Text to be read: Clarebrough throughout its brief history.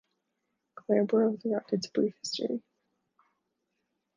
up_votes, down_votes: 0, 2